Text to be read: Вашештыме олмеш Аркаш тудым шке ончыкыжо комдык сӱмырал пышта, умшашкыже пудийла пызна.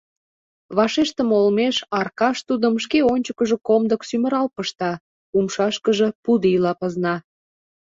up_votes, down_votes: 2, 0